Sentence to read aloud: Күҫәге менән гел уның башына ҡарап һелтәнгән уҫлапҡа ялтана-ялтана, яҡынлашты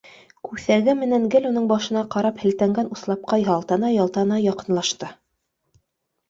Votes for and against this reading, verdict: 2, 0, accepted